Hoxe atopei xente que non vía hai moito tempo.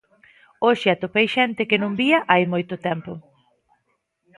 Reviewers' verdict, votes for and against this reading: accepted, 2, 0